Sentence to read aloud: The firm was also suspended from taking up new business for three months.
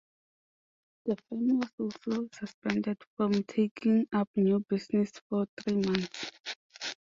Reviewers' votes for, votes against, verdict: 0, 2, rejected